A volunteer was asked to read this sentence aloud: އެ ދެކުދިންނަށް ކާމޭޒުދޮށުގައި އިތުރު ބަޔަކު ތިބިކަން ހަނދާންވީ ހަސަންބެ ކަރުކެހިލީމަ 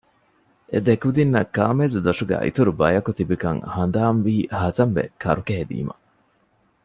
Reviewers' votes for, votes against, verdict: 2, 0, accepted